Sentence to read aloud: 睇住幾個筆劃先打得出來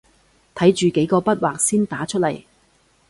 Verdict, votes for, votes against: rejected, 0, 2